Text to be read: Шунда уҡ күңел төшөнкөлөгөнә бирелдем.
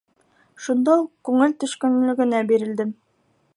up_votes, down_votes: 1, 2